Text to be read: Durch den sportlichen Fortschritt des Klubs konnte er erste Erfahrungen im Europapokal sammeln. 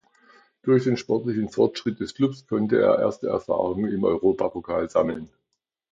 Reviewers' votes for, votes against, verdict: 2, 0, accepted